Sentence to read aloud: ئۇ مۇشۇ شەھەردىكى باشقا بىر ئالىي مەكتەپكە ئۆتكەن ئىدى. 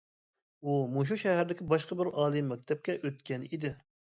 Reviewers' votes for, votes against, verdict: 2, 0, accepted